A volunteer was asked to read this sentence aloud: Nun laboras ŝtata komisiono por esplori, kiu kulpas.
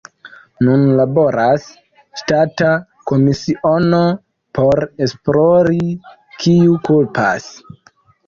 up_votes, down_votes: 2, 0